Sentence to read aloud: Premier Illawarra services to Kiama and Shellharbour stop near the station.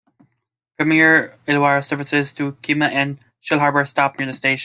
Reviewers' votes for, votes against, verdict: 0, 2, rejected